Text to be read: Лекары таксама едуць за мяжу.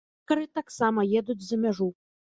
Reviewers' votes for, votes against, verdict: 0, 2, rejected